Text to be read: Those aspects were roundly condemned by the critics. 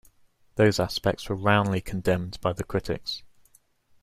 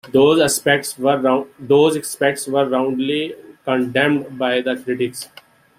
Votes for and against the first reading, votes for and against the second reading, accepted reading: 2, 0, 0, 2, first